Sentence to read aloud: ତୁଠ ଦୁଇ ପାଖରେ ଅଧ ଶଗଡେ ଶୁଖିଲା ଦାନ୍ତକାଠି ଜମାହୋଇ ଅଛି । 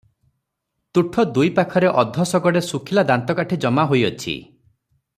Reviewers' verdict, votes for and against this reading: accepted, 3, 0